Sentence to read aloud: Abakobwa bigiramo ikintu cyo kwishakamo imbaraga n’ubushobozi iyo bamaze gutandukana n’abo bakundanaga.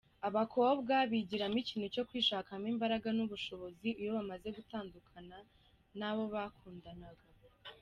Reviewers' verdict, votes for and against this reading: accepted, 2, 0